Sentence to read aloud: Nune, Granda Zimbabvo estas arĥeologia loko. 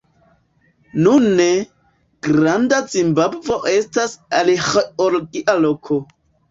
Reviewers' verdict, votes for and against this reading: rejected, 1, 3